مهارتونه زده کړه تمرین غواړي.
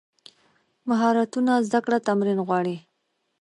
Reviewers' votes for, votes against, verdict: 2, 0, accepted